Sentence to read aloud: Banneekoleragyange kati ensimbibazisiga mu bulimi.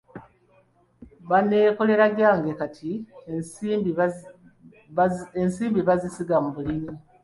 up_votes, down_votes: 2, 1